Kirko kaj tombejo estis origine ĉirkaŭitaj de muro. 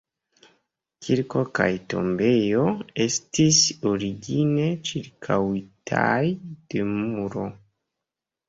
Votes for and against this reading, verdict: 2, 0, accepted